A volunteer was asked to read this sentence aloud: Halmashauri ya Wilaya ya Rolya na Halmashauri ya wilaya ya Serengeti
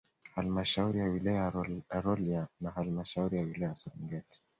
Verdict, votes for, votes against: accepted, 2, 1